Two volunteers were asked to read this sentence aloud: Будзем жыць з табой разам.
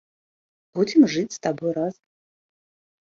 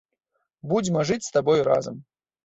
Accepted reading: first